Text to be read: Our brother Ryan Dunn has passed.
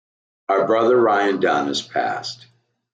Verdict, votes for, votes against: accepted, 2, 0